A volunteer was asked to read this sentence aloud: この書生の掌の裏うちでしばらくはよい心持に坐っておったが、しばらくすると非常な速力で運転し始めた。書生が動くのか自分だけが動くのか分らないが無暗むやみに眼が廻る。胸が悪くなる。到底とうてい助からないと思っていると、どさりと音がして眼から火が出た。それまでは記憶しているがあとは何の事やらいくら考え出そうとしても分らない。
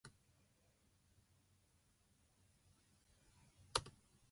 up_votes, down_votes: 0, 2